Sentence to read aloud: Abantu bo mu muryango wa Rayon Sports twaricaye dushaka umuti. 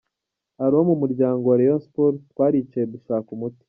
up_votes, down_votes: 1, 3